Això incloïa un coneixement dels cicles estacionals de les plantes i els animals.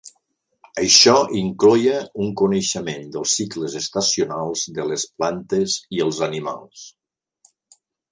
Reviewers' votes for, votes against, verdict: 0, 2, rejected